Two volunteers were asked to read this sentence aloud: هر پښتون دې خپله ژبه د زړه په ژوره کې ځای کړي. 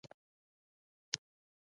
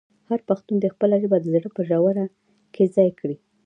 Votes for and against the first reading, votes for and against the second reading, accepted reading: 0, 2, 2, 0, second